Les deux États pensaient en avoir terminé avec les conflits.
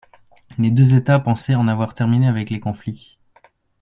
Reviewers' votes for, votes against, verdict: 2, 0, accepted